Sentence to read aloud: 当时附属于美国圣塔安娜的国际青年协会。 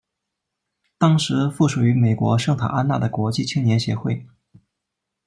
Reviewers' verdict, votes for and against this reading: rejected, 0, 2